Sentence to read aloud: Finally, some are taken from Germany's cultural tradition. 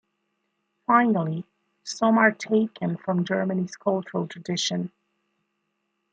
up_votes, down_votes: 2, 0